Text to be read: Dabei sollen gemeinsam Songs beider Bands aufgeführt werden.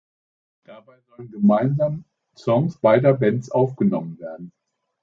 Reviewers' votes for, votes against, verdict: 0, 2, rejected